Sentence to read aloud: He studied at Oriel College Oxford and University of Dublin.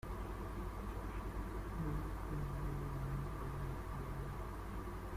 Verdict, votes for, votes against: rejected, 0, 2